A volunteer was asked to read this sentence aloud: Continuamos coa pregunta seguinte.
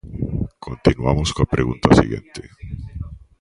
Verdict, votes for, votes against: rejected, 1, 2